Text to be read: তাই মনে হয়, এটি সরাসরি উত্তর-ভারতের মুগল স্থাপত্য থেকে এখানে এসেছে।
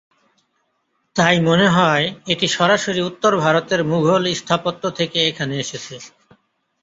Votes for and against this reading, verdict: 2, 0, accepted